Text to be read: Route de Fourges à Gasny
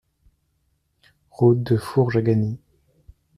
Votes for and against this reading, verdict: 2, 0, accepted